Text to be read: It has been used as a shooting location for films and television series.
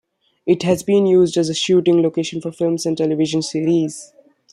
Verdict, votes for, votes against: accepted, 2, 0